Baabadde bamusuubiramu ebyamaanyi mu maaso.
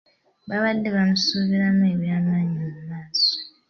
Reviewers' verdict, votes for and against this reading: accepted, 2, 0